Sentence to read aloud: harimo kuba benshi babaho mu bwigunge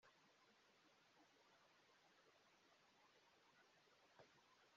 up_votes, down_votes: 0, 3